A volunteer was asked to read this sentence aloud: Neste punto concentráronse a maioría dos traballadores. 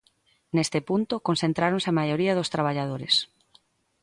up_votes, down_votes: 2, 0